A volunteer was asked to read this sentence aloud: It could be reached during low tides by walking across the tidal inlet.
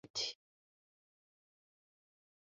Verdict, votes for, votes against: rejected, 0, 2